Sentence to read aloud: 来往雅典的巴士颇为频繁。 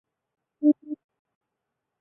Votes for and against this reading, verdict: 0, 2, rejected